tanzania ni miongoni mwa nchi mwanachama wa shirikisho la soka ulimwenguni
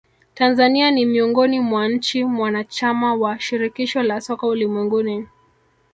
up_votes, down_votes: 0, 2